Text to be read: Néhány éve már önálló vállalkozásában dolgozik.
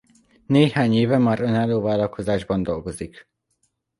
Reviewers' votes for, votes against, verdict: 0, 2, rejected